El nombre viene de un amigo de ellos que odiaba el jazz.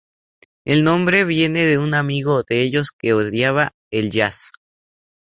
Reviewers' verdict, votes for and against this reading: accepted, 2, 0